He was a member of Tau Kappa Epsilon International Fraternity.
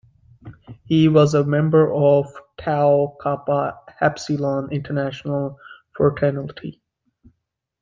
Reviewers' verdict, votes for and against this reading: accepted, 2, 1